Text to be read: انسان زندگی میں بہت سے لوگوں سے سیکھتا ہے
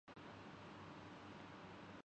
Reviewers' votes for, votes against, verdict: 0, 2, rejected